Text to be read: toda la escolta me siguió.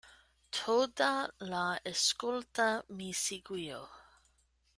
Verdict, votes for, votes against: rejected, 1, 2